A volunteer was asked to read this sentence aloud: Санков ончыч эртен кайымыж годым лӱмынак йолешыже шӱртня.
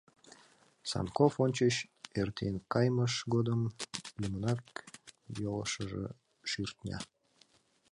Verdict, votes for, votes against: accepted, 2, 1